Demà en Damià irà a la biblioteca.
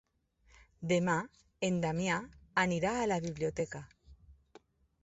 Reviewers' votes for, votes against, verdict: 0, 4, rejected